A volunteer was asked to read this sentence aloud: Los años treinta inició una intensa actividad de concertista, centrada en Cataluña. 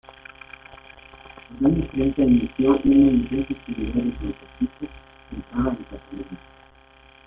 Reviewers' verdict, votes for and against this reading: rejected, 0, 2